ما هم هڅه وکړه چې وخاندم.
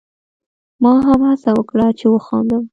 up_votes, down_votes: 2, 0